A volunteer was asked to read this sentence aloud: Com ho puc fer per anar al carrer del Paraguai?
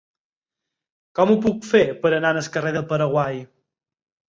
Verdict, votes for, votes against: rejected, 2, 4